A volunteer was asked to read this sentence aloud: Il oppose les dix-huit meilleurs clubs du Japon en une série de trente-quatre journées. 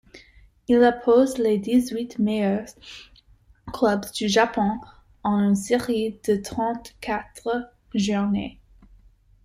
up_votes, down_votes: 0, 2